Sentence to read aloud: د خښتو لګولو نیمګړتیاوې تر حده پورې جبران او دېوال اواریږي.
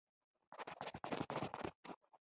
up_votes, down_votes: 0, 3